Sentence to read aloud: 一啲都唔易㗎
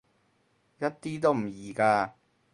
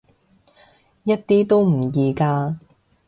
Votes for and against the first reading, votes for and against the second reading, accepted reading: 2, 2, 2, 0, second